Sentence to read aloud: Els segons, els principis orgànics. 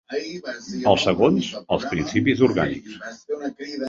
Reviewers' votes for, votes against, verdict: 1, 2, rejected